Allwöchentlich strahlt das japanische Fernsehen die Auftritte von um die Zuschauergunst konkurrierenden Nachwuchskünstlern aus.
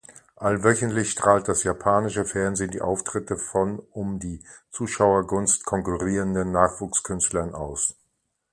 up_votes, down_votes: 2, 0